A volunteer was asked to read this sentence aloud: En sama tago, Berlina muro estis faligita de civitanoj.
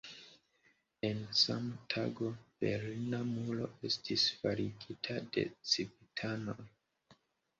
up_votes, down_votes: 2, 0